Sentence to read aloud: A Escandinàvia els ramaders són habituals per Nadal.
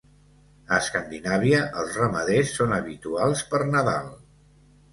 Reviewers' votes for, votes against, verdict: 2, 0, accepted